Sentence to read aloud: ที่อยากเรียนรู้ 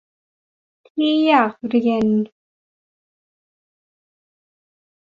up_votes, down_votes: 0, 2